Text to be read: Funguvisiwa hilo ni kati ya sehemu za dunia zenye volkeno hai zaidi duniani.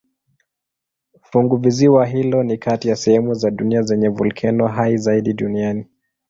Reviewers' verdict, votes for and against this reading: accepted, 2, 0